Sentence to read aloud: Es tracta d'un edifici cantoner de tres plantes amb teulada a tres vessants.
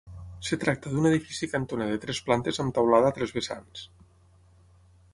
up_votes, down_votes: 0, 6